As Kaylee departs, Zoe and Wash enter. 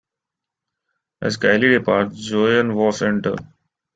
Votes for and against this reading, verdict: 2, 0, accepted